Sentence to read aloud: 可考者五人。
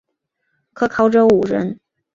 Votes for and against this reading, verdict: 3, 0, accepted